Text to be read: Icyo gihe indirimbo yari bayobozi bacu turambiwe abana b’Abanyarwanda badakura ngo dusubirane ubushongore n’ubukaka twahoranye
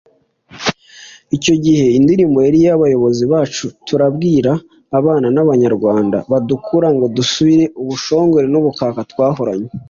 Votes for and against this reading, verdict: 1, 2, rejected